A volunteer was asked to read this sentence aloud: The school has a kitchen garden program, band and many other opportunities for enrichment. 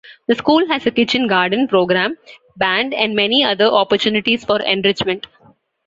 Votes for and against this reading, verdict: 2, 0, accepted